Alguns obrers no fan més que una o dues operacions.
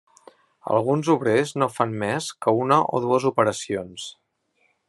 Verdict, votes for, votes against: accepted, 3, 0